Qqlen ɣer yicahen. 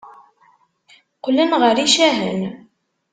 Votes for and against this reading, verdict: 3, 0, accepted